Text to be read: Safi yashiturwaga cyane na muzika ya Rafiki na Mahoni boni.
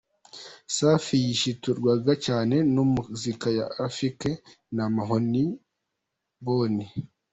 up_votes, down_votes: 2, 1